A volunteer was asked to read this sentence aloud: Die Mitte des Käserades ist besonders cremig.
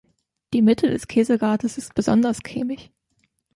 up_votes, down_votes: 2, 1